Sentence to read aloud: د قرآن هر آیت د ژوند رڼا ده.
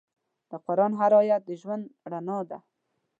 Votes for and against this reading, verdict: 2, 0, accepted